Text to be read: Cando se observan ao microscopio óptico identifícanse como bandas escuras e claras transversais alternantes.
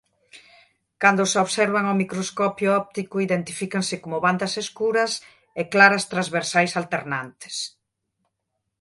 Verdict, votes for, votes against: accepted, 2, 0